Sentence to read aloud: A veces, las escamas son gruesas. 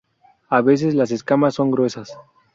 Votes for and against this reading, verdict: 2, 0, accepted